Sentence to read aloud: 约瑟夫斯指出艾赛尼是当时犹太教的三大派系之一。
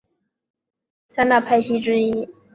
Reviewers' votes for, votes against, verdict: 1, 3, rejected